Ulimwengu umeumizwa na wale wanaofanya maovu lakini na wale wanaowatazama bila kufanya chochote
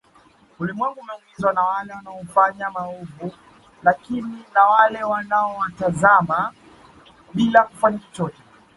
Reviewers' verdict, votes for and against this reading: accepted, 2, 0